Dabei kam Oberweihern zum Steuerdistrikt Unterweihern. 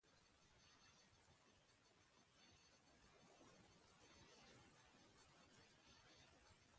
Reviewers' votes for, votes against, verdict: 0, 2, rejected